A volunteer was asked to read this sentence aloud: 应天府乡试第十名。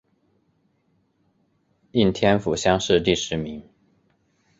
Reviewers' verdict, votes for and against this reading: accepted, 2, 0